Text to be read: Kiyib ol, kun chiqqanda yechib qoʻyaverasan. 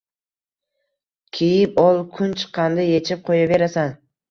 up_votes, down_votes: 1, 2